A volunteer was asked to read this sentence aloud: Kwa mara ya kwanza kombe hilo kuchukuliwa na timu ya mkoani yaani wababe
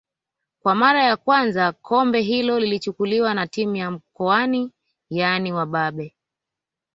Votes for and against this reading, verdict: 0, 2, rejected